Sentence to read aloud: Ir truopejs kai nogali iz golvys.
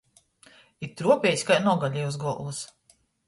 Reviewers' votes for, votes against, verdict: 0, 2, rejected